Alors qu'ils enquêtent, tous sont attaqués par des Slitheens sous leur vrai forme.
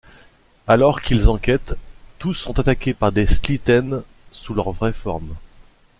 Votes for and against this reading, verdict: 2, 0, accepted